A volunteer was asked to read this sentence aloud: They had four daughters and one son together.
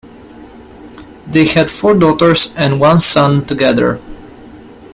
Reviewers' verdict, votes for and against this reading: accepted, 2, 0